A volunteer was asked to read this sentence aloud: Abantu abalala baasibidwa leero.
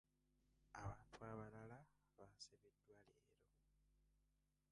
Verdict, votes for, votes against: rejected, 1, 2